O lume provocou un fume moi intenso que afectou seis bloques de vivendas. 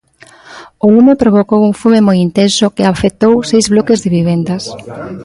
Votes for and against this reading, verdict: 1, 2, rejected